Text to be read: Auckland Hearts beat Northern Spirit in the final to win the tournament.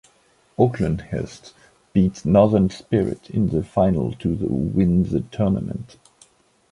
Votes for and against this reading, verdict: 1, 2, rejected